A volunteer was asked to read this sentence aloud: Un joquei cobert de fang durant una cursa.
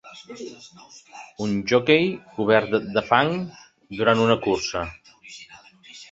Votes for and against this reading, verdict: 0, 2, rejected